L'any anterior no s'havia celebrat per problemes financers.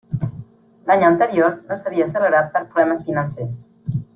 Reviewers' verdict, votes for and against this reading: accepted, 2, 0